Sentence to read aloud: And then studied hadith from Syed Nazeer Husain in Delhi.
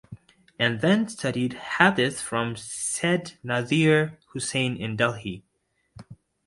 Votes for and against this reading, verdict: 2, 0, accepted